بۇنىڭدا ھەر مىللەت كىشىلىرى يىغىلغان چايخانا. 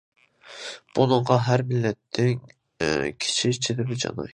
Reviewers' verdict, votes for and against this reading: rejected, 0, 2